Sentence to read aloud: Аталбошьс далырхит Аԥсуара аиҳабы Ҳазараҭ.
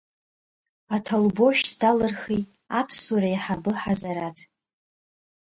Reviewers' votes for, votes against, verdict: 0, 2, rejected